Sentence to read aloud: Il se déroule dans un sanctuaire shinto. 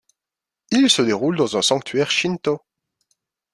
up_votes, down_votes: 2, 0